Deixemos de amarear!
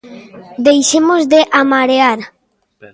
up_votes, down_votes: 2, 1